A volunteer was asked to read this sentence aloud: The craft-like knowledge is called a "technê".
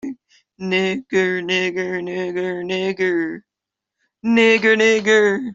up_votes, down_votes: 0, 2